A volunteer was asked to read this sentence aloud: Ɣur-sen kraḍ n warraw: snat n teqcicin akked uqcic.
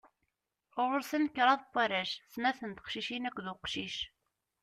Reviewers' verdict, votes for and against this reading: rejected, 0, 2